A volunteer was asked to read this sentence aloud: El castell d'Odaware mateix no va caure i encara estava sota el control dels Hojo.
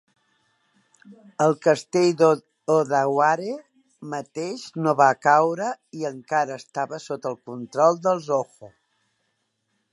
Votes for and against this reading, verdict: 1, 2, rejected